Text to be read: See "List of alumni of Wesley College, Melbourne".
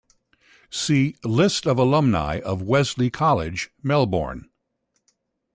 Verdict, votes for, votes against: accepted, 2, 0